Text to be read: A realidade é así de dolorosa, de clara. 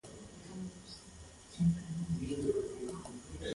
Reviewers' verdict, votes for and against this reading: rejected, 0, 2